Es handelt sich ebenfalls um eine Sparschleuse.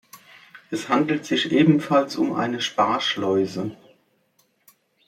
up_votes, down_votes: 3, 0